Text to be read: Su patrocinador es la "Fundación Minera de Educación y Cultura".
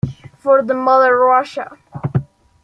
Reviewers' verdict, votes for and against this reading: rejected, 0, 2